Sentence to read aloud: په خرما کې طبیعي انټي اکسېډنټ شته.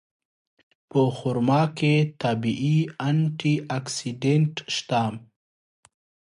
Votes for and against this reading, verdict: 2, 0, accepted